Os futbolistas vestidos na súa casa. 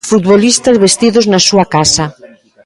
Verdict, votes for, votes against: rejected, 1, 2